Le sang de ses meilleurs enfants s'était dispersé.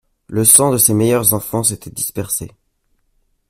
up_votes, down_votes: 2, 0